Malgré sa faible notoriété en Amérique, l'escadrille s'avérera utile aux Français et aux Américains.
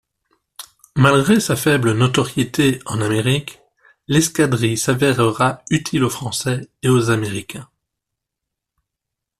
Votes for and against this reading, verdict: 2, 0, accepted